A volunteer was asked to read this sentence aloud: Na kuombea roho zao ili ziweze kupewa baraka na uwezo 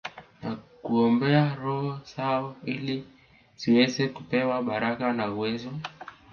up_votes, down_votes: 2, 1